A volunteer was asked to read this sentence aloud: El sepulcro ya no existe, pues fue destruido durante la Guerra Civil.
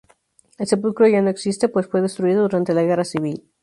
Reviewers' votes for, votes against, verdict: 2, 0, accepted